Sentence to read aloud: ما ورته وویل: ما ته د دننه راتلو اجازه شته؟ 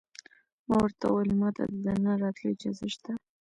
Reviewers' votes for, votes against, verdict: 2, 1, accepted